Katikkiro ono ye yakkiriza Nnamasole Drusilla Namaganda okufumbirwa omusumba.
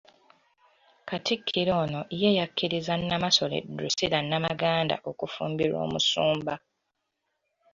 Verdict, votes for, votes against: accepted, 2, 1